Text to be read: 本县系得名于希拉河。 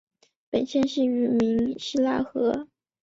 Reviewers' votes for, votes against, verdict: 2, 1, accepted